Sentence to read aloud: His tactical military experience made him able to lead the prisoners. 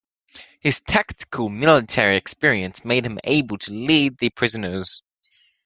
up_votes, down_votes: 2, 0